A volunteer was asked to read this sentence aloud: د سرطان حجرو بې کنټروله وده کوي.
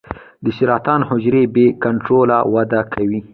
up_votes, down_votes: 2, 0